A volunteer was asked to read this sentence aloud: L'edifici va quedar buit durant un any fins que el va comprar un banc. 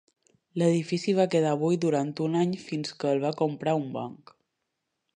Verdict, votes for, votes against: accepted, 2, 0